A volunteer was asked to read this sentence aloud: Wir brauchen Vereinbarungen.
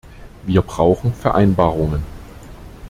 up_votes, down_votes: 2, 0